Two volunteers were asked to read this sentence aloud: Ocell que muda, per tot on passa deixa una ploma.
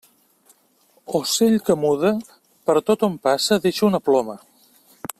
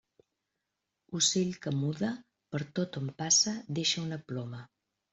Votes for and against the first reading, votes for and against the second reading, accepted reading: 3, 0, 1, 2, first